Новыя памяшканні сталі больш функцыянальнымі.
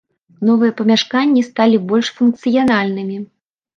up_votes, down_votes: 2, 0